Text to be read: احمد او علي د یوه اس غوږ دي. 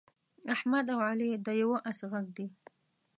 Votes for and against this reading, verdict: 1, 2, rejected